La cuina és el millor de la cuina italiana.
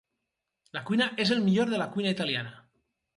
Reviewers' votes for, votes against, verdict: 4, 0, accepted